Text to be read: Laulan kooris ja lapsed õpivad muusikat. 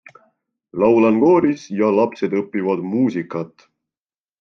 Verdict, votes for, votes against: accepted, 2, 0